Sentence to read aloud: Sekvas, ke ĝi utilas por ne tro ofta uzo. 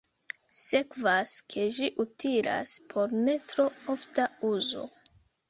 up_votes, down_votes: 2, 0